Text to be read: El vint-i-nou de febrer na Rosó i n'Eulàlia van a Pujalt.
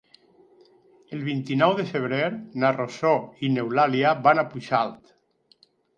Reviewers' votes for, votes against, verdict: 2, 4, rejected